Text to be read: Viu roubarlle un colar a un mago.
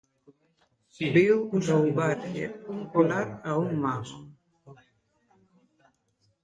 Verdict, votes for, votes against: rejected, 0, 2